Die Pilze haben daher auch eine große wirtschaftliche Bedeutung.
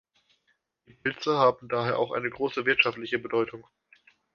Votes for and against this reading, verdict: 1, 2, rejected